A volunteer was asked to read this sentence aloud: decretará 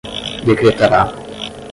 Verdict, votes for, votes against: rejected, 5, 10